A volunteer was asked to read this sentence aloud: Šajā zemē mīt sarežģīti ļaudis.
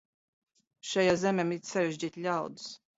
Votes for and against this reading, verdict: 0, 2, rejected